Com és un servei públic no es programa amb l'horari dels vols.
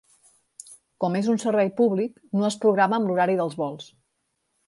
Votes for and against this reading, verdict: 3, 0, accepted